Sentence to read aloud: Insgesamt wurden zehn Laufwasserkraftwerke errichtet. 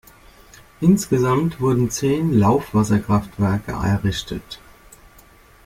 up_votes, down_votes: 2, 0